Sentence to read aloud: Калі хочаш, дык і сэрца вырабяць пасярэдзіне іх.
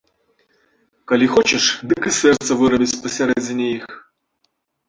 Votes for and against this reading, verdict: 1, 2, rejected